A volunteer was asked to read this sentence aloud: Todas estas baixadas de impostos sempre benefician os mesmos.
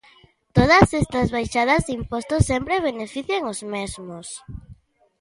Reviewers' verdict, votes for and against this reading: accepted, 2, 0